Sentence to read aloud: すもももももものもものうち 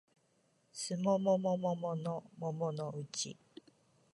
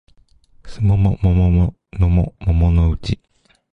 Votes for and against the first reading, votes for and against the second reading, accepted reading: 2, 0, 1, 2, first